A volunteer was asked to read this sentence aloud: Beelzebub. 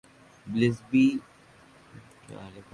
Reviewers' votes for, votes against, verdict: 0, 2, rejected